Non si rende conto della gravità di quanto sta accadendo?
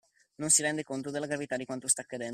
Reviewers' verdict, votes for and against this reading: accepted, 2, 0